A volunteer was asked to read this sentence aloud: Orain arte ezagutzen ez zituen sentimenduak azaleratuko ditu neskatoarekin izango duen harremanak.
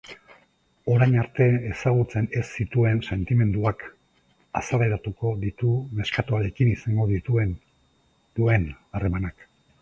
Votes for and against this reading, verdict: 0, 2, rejected